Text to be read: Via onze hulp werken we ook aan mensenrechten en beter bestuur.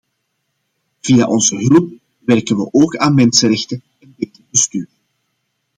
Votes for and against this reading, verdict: 0, 2, rejected